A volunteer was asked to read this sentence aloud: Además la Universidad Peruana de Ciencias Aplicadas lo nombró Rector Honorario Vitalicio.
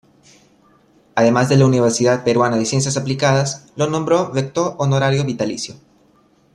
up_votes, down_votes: 2, 1